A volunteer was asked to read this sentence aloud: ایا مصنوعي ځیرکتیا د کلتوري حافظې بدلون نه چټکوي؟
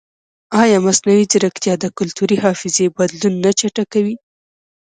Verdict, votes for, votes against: accepted, 2, 0